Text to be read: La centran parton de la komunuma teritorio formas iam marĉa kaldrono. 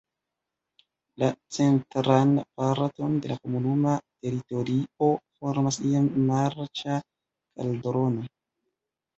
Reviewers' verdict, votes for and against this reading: rejected, 1, 2